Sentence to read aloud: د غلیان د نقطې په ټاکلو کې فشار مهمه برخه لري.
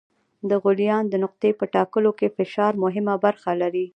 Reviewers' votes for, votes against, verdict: 0, 2, rejected